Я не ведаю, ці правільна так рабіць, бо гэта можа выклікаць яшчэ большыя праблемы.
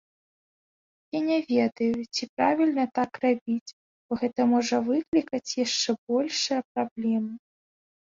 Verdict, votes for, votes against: rejected, 1, 2